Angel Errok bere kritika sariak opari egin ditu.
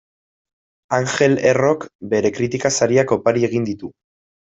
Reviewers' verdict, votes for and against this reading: accepted, 2, 0